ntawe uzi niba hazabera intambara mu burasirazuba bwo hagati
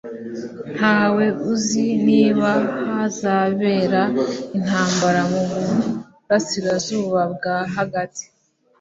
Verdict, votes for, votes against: rejected, 1, 2